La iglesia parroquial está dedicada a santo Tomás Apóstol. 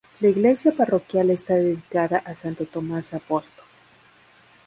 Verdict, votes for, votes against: rejected, 0, 2